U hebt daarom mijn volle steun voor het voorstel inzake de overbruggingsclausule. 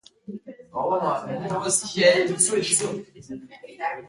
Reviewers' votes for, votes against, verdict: 0, 2, rejected